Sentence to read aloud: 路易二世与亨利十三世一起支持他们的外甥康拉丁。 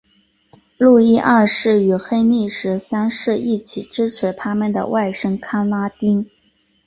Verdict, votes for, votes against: accepted, 3, 0